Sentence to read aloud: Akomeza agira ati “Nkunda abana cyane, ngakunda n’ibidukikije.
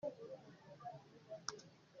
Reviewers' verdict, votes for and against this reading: rejected, 0, 2